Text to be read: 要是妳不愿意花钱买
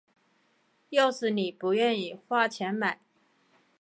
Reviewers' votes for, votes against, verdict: 4, 0, accepted